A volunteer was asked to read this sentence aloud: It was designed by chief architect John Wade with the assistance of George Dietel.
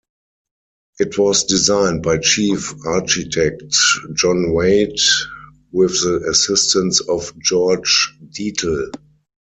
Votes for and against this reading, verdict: 0, 4, rejected